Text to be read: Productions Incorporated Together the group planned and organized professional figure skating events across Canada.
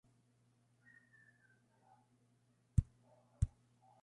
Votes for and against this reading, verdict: 0, 2, rejected